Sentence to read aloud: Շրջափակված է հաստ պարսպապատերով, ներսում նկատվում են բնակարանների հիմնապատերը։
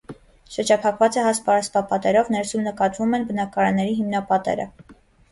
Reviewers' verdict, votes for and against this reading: accepted, 2, 0